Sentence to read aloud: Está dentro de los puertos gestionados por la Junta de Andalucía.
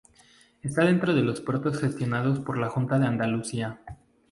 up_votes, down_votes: 0, 2